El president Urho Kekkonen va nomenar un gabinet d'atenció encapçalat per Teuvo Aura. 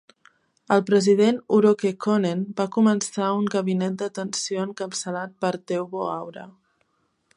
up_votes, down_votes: 1, 2